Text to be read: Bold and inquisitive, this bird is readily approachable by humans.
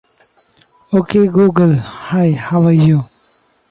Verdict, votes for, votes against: rejected, 0, 2